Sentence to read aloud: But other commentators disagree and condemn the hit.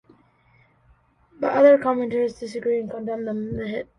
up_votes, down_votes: 1, 2